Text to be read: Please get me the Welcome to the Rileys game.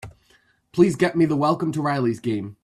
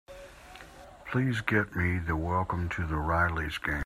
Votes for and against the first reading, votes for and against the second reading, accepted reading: 2, 0, 1, 2, first